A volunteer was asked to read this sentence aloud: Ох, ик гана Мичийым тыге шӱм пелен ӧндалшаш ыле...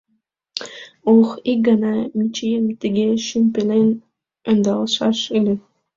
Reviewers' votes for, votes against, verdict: 2, 0, accepted